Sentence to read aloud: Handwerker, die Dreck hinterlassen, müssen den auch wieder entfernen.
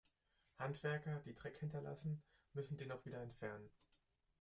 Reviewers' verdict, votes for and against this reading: rejected, 0, 2